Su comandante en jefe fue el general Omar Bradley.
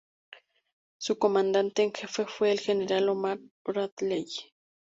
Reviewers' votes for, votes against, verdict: 4, 0, accepted